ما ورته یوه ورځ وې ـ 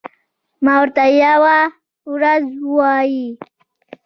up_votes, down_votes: 2, 0